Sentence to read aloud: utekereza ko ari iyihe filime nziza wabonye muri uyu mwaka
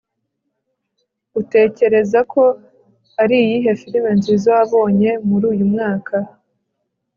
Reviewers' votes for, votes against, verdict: 2, 0, accepted